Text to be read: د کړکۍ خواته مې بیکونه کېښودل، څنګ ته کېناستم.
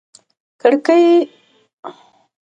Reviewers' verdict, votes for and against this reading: rejected, 0, 2